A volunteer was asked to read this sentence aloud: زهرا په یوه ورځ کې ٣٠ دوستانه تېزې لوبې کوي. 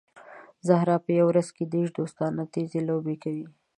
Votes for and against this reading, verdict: 0, 2, rejected